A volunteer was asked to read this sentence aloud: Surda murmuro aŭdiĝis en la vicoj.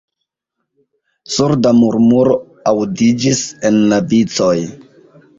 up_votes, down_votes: 2, 3